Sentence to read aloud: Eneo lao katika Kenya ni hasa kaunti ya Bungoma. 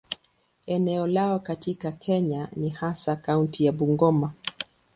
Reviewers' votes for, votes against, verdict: 3, 0, accepted